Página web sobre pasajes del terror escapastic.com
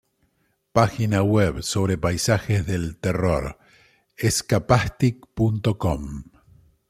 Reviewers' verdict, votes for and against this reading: rejected, 0, 2